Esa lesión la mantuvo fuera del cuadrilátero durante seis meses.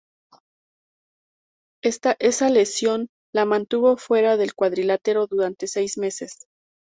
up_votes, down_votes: 2, 0